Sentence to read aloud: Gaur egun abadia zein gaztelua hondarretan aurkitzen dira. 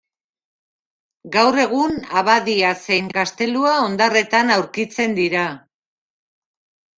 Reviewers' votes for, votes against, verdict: 2, 0, accepted